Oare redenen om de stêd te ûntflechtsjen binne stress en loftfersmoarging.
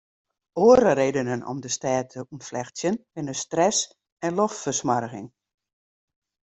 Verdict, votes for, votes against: accepted, 2, 0